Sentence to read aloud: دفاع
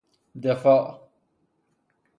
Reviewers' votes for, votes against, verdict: 6, 0, accepted